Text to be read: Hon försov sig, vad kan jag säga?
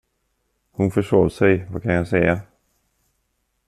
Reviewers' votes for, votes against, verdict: 2, 0, accepted